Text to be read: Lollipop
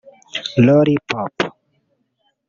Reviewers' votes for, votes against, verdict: 0, 2, rejected